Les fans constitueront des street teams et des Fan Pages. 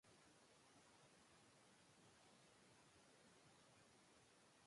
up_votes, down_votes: 1, 2